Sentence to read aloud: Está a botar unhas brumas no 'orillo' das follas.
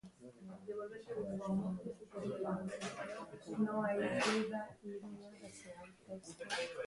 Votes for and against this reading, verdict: 0, 2, rejected